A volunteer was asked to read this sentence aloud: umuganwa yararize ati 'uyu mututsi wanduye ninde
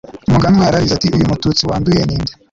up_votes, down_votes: 0, 2